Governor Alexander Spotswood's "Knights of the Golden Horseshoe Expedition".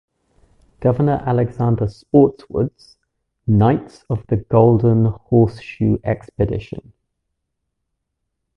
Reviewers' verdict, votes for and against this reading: accepted, 2, 0